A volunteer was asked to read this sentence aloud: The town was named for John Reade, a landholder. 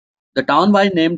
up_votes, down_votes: 0, 2